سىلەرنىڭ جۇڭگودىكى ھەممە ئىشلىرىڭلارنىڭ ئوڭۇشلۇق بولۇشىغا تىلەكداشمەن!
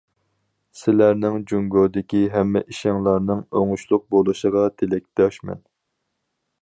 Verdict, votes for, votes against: rejected, 2, 4